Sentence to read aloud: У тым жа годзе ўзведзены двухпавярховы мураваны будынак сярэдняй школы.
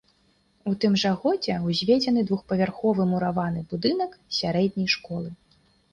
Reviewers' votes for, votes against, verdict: 2, 0, accepted